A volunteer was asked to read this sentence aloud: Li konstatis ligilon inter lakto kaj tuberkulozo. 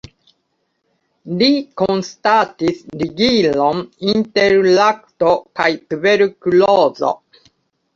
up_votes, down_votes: 2, 1